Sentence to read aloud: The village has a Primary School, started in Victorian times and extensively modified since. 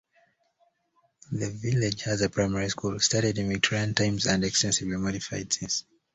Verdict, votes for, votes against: rejected, 1, 2